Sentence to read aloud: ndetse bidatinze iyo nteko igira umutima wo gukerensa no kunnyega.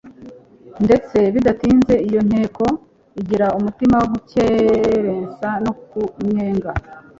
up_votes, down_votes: 2, 0